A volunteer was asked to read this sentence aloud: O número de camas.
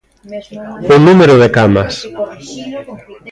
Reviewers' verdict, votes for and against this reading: rejected, 0, 2